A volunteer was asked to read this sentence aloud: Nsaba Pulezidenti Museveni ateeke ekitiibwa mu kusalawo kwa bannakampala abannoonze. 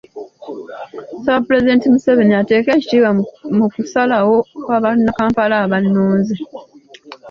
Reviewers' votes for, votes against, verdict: 2, 0, accepted